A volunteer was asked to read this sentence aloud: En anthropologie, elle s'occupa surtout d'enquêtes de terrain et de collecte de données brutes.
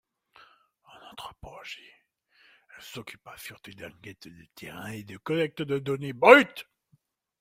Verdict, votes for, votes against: accepted, 2, 1